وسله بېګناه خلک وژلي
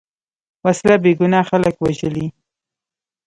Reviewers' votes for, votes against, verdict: 1, 2, rejected